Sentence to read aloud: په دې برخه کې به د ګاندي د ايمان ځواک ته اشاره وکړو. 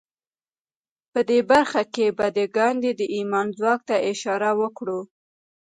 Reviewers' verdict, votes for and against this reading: rejected, 0, 2